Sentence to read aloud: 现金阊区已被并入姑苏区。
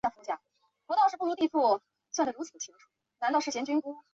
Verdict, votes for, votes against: rejected, 0, 2